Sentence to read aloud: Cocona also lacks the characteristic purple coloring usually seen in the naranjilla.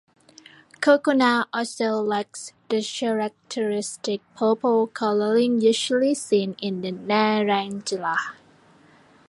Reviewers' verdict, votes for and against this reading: rejected, 1, 2